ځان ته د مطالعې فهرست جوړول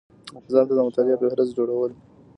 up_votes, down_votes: 1, 2